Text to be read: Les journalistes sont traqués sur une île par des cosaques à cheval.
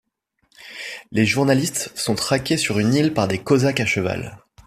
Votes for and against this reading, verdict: 2, 0, accepted